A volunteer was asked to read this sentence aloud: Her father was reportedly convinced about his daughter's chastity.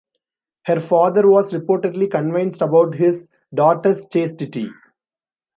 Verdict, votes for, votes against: accepted, 2, 0